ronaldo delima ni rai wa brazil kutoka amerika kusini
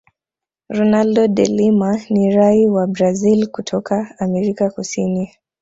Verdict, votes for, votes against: accepted, 2, 0